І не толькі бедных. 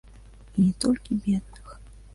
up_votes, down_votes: 0, 2